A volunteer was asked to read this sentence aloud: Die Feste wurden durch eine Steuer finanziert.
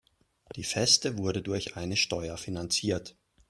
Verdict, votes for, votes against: rejected, 0, 2